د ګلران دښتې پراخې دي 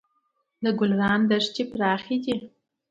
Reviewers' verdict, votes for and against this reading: accepted, 2, 0